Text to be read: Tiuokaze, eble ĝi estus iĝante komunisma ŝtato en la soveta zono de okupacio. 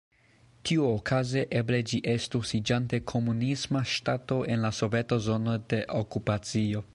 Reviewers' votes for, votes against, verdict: 0, 2, rejected